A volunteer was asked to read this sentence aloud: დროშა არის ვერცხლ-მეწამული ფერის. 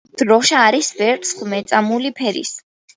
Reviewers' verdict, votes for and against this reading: accepted, 2, 0